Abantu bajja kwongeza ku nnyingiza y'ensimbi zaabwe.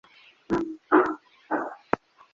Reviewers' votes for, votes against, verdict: 0, 2, rejected